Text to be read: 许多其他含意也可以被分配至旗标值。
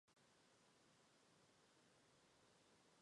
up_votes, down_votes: 0, 3